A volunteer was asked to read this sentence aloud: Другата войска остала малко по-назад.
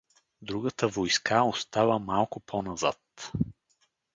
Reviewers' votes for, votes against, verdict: 2, 2, rejected